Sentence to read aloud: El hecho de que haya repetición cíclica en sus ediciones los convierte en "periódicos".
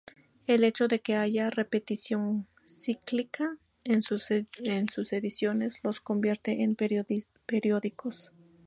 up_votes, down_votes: 0, 2